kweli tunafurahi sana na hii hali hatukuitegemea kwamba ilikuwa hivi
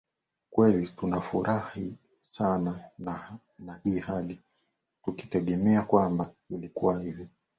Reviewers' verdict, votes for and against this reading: rejected, 1, 2